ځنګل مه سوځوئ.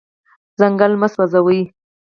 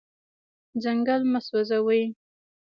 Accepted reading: second